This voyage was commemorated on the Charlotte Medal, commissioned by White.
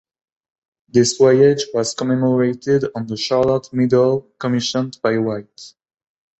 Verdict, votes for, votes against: accepted, 2, 1